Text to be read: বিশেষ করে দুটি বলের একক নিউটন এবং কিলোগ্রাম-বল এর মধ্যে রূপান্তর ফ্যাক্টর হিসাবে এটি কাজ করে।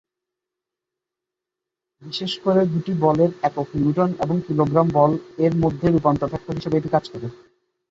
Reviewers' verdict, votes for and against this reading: accepted, 3, 0